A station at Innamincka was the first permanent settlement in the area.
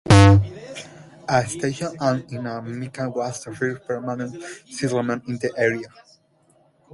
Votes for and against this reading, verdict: 0, 2, rejected